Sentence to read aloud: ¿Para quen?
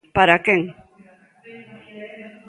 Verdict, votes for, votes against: rejected, 1, 2